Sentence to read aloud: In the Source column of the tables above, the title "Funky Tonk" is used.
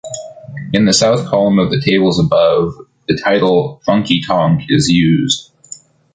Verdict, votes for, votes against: rejected, 0, 2